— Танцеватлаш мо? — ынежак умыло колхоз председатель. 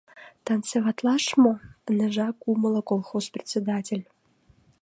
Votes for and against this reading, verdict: 2, 0, accepted